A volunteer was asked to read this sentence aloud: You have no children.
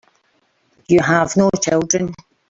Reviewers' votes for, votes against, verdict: 2, 1, accepted